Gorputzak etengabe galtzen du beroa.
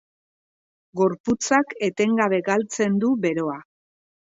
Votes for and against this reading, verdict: 4, 0, accepted